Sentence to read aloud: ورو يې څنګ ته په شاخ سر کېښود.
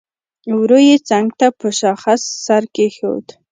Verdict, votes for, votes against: accepted, 2, 0